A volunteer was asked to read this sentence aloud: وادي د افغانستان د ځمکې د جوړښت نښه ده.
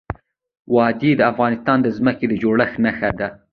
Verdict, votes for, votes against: rejected, 0, 2